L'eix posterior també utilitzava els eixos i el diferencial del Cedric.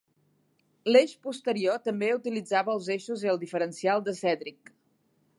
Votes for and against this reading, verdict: 2, 3, rejected